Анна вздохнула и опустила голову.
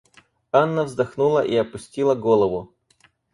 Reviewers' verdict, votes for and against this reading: rejected, 0, 4